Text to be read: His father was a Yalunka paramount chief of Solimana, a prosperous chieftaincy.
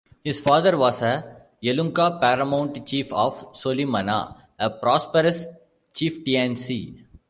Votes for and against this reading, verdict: 0, 2, rejected